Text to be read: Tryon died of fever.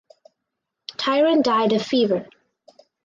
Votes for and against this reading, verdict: 0, 2, rejected